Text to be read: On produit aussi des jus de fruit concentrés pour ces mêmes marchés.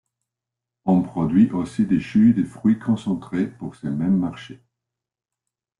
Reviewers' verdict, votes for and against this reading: rejected, 1, 2